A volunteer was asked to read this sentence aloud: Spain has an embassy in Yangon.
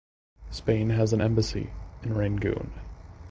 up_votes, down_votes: 1, 2